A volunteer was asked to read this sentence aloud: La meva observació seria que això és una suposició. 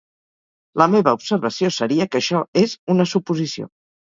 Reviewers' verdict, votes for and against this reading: accepted, 4, 0